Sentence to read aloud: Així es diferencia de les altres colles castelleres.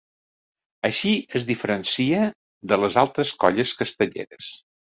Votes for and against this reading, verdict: 3, 0, accepted